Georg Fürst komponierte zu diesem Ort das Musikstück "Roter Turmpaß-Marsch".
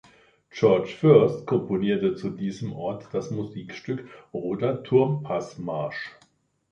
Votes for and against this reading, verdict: 2, 0, accepted